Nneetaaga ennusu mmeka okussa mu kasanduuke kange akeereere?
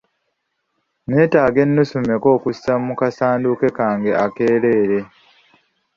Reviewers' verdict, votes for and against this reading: accepted, 2, 0